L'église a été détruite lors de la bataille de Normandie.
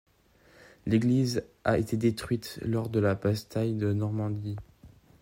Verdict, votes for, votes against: rejected, 1, 2